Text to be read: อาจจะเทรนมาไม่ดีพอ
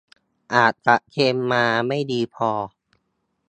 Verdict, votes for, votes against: accepted, 2, 0